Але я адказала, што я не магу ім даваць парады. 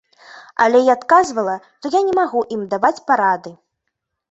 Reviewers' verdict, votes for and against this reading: rejected, 1, 2